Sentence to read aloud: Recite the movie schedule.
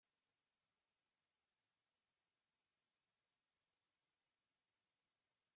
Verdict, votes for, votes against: rejected, 0, 2